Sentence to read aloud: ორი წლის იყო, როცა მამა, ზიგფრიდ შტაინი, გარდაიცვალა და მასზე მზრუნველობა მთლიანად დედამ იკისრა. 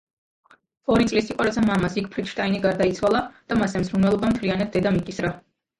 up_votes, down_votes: 0, 2